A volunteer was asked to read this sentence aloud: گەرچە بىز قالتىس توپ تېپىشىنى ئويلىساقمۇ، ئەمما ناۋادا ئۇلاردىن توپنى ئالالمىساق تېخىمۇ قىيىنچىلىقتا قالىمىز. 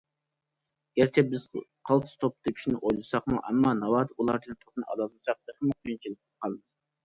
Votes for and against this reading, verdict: 0, 2, rejected